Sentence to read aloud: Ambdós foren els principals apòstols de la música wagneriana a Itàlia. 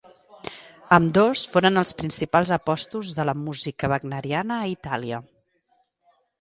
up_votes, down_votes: 1, 2